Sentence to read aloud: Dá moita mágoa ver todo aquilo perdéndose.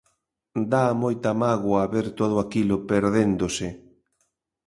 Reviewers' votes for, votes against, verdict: 2, 0, accepted